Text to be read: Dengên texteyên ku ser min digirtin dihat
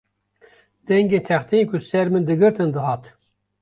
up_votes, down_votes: 2, 0